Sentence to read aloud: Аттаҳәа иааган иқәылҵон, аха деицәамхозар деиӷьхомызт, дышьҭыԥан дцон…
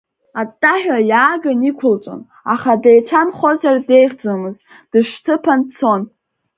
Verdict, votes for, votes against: accepted, 2, 0